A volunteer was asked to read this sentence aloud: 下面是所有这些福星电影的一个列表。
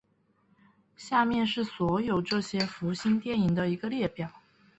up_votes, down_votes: 1, 2